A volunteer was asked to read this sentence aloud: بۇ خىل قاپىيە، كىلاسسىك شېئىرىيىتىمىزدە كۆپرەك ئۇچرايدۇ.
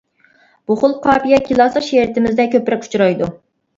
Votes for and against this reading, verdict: 0, 2, rejected